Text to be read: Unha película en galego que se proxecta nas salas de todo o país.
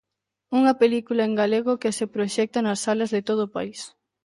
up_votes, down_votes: 2, 0